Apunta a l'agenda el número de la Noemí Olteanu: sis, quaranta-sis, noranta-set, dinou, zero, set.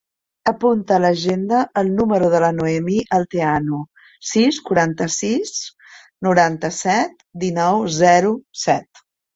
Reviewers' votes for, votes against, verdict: 1, 2, rejected